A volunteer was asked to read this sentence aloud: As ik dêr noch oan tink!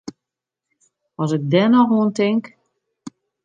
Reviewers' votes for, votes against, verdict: 2, 0, accepted